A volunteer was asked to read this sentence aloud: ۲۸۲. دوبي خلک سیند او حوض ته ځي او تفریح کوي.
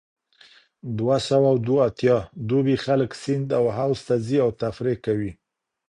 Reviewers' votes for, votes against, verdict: 0, 2, rejected